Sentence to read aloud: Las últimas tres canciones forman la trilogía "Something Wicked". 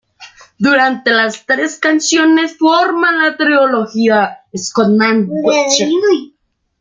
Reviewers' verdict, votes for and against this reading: rejected, 0, 2